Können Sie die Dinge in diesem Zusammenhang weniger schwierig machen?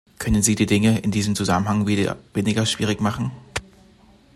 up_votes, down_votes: 1, 2